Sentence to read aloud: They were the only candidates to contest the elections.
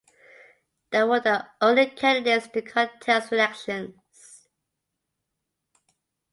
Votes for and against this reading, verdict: 2, 1, accepted